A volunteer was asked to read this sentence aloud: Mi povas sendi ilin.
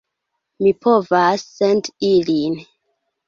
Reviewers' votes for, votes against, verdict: 1, 2, rejected